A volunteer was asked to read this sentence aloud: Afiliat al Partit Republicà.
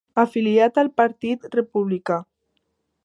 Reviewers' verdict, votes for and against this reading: accepted, 3, 0